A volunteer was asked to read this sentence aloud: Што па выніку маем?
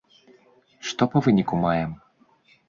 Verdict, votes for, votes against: accepted, 2, 0